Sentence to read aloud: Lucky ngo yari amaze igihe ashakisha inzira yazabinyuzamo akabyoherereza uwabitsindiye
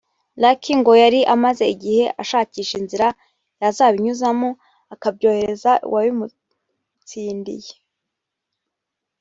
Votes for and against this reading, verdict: 0, 2, rejected